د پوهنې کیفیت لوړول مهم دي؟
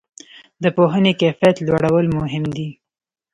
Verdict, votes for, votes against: accepted, 2, 0